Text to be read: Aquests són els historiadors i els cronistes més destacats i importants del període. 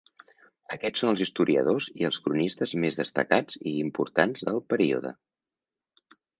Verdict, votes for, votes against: accepted, 3, 0